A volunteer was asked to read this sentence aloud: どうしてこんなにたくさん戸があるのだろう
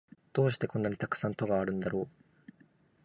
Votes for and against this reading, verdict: 0, 2, rejected